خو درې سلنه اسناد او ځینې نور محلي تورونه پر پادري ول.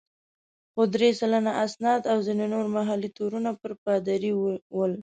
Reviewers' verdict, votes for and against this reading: rejected, 1, 2